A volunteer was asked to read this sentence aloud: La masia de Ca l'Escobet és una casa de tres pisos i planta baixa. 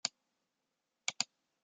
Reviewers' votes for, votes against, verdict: 0, 2, rejected